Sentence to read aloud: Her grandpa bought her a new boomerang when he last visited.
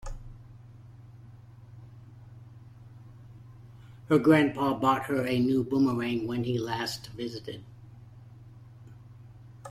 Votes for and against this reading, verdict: 2, 0, accepted